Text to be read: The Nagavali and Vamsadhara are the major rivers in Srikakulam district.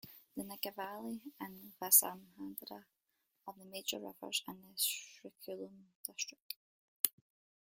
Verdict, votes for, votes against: rejected, 0, 2